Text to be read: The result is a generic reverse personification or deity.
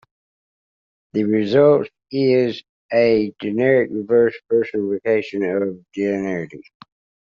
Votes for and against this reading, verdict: 1, 2, rejected